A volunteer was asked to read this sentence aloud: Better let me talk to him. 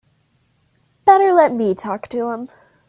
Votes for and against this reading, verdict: 2, 0, accepted